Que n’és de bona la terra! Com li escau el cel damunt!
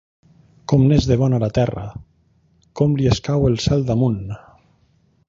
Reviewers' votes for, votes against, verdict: 0, 2, rejected